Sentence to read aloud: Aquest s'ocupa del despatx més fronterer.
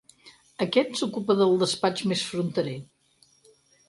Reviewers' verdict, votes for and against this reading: accepted, 6, 0